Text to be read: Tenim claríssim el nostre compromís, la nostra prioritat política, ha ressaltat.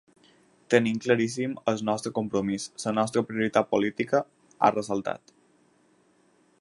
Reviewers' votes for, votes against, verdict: 0, 4, rejected